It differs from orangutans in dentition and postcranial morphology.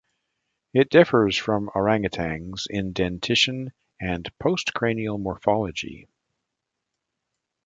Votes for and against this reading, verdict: 2, 0, accepted